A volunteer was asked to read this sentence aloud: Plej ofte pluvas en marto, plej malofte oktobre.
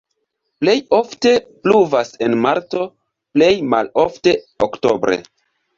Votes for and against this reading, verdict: 2, 0, accepted